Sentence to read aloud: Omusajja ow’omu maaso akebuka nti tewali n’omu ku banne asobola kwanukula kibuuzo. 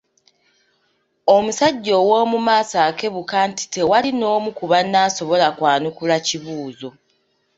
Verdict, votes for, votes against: accepted, 2, 0